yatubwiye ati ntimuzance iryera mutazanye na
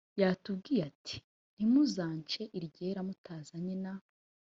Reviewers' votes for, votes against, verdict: 2, 0, accepted